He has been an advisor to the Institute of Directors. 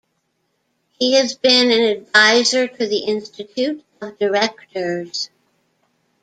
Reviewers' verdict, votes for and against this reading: accepted, 2, 0